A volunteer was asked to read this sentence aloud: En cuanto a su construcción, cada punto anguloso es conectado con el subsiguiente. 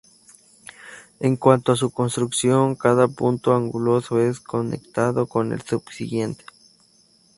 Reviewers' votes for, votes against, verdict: 0, 2, rejected